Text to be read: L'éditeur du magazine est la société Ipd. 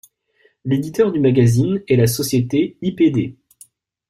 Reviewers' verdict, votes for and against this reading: accepted, 2, 0